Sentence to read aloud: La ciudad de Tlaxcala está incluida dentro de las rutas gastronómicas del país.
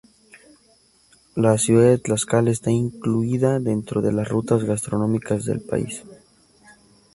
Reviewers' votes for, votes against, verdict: 0, 2, rejected